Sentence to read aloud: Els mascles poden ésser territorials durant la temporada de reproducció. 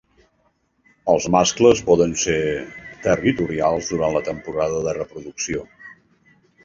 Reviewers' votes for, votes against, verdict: 2, 3, rejected